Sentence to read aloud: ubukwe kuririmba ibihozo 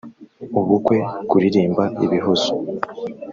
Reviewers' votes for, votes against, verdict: 2, 0, accepted